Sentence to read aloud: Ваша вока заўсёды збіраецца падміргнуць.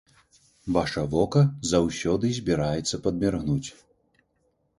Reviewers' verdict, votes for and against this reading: accepted, 2, 0